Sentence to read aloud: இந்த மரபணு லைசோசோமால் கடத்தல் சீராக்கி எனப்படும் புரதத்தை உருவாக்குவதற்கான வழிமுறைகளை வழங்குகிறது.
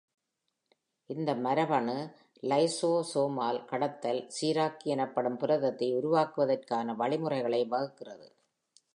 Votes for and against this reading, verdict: 2, 0, accepted